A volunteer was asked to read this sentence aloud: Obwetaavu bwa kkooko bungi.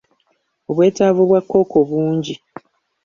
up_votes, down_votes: 2, 1